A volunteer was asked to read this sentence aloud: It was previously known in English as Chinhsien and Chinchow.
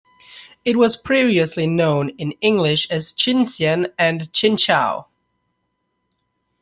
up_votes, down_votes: 2, 0